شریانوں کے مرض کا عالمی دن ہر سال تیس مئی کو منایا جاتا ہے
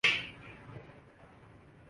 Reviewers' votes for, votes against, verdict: 7, 8, rejected